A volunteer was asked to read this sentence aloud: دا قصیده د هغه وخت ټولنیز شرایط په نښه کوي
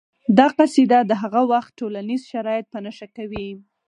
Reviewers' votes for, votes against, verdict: 4, 0, accepted